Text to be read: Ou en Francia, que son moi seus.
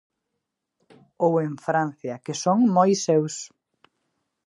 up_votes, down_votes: 2, 0